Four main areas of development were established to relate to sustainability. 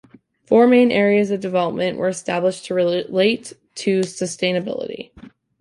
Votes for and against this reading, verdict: 2, 0, accepted